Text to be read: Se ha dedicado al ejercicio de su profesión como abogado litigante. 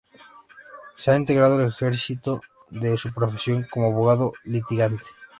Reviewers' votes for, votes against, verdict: 0, 2, rejected